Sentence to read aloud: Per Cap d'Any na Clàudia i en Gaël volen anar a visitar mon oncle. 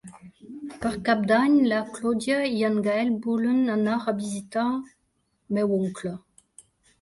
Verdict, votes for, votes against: rejected, 0, 2